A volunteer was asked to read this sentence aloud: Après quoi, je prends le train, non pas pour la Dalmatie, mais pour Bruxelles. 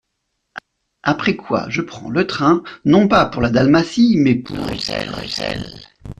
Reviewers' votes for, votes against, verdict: 0, 2, rejected